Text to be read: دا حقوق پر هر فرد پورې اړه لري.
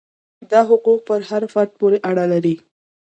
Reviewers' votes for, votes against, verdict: 2, 0, accepted